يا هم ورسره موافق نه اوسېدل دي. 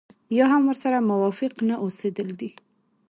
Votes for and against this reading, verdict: 0, 2, rejected